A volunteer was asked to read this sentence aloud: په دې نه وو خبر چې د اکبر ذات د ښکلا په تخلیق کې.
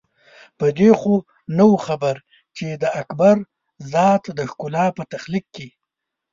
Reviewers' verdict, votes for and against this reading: rejected, 1, 2